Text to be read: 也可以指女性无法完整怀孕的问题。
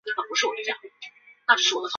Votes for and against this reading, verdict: 0, 2, rejected